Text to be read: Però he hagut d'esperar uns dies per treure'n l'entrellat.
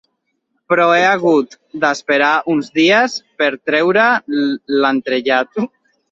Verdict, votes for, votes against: rejected, 0, 2